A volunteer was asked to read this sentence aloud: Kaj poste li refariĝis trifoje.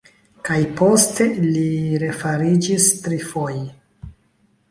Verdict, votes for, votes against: rejected, 1, 2